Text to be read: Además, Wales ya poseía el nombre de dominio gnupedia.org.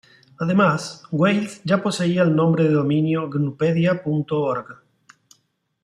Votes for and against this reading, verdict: 2, 0, accepted